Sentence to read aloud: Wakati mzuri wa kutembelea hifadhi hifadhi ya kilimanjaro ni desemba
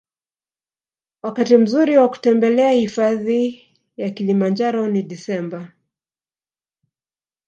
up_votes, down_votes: 1, 2